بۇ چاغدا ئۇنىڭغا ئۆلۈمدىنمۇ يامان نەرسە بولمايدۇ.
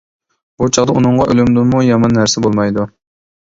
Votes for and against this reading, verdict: 2, 0, accepted